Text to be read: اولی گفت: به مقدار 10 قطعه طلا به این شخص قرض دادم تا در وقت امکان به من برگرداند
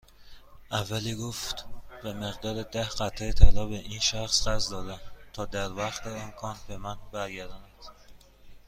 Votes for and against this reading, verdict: 0, 2, rejected